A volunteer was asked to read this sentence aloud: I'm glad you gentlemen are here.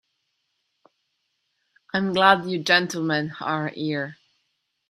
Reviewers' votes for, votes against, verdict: 2, 1, accepted